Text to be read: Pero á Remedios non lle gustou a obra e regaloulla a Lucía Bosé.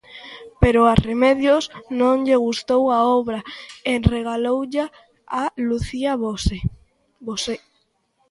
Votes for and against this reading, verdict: 0, 2, rejected